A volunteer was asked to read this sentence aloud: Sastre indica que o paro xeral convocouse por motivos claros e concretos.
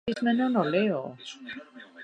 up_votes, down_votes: 0, 2